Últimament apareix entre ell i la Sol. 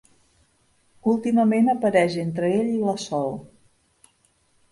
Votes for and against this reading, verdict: 4, 0, accepted